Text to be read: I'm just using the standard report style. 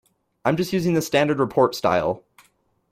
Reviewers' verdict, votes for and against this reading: accepted, 2, 0